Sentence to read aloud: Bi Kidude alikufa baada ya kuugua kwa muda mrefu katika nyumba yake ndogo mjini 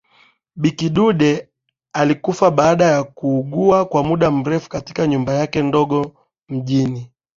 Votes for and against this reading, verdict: 2, 0, accepted